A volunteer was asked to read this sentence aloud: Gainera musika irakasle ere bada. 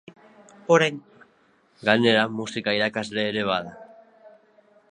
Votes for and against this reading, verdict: 1, 3, rejected